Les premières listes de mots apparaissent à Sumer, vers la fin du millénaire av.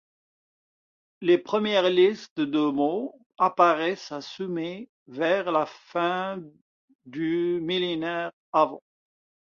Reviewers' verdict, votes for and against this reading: accepted, 2, 1